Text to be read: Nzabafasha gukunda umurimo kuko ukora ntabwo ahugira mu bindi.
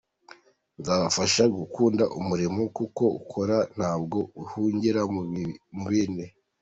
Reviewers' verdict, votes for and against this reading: rejected, 0, 2